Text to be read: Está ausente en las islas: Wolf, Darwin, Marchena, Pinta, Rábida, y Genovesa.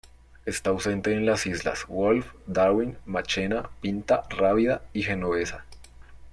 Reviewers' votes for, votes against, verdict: 1, 2, rejected